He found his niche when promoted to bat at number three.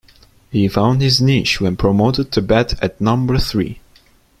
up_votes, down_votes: 2, 0